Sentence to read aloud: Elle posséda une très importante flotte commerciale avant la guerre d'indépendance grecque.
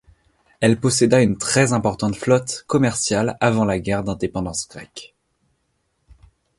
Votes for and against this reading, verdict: 2, 0, accepted